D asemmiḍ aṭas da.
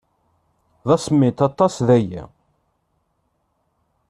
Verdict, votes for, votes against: rejected, 0, 2